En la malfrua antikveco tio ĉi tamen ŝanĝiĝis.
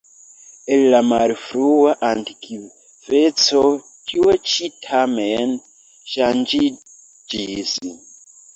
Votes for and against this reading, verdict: 2, 1, accepted